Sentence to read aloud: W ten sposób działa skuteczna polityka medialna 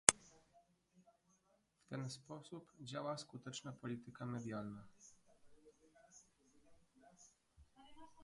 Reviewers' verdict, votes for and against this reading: rejected, 1, 2